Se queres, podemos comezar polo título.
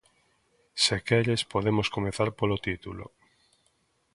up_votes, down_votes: 3, 0